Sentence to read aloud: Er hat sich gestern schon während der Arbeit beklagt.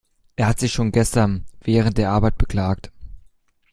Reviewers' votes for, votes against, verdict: 0, 2, rejected